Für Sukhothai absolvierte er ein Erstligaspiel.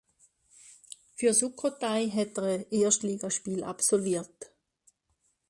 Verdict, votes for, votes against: rejected, 0, 2